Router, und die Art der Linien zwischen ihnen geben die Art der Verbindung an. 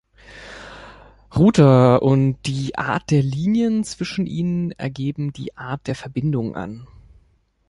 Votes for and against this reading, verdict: 0, 2, rejected